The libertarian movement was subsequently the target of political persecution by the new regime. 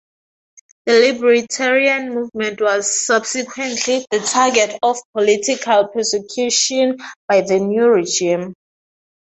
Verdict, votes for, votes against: accepted, 2, 0